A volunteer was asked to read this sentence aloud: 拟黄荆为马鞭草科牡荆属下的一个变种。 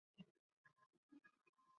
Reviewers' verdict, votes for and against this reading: rejected, 0, 5